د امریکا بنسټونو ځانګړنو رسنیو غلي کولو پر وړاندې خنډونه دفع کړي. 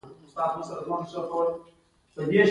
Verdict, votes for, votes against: accepted, 2, 0